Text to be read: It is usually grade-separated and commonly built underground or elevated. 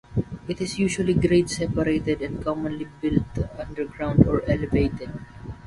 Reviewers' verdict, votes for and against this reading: rejected, 0, 2